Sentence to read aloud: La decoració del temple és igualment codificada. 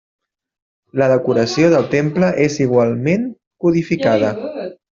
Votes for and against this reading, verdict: 3, 1, accepted